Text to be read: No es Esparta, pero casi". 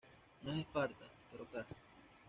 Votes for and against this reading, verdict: 2, 0, accepted